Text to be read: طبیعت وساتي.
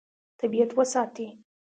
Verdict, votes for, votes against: accepted, 2, 0